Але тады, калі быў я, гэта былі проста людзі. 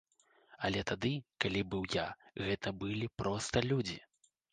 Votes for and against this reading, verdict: 2, 0, accepted